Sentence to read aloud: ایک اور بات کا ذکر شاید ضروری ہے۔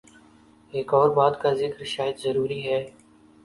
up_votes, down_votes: 7, 0